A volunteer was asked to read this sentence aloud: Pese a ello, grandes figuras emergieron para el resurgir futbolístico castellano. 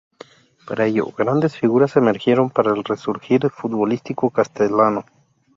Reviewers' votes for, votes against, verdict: 0, 4, rejected